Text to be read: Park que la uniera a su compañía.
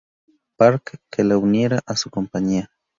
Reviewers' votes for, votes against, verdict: 0, 2, rejected